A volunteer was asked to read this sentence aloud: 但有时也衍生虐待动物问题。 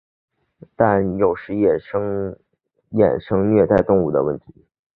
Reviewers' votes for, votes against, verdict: 1, 2, rejected